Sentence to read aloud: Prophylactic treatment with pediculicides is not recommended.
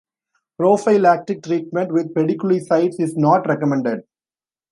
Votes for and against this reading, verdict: 2, 0, accepted